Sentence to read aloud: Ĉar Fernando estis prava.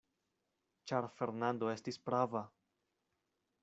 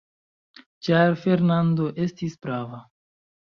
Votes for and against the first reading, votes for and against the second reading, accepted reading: 2, 0, 1, 2, first